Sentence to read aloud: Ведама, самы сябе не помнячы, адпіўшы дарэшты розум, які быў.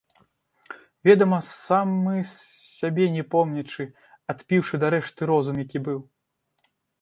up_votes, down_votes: 2, 0